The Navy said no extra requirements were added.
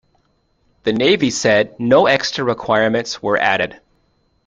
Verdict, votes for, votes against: accepted, 2, 0